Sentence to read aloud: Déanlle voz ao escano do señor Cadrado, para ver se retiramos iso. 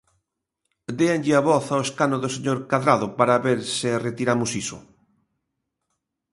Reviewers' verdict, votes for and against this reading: rejected, 1, 2